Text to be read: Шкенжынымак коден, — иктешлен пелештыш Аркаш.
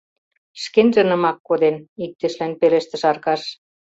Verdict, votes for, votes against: accepted, 2, 0